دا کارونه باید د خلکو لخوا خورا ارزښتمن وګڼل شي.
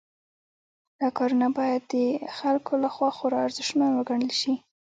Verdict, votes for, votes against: accepted, 2, 1